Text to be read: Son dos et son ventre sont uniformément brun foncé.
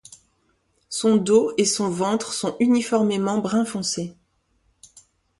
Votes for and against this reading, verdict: 1, 2, rejected